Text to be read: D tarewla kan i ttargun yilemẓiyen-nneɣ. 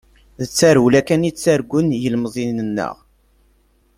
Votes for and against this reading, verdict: 2, 0, accepted